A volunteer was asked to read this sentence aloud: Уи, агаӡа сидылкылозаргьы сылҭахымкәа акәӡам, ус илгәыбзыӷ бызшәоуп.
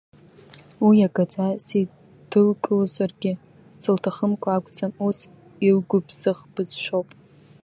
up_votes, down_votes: 0, 2